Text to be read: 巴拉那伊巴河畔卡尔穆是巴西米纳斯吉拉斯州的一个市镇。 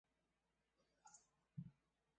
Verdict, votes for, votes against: rejected, 0, 4